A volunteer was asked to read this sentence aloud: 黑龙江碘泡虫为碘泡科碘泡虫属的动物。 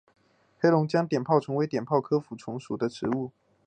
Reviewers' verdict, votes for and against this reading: accepted, 8, 0